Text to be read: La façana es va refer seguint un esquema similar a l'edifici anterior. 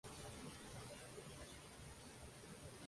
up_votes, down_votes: 0, 2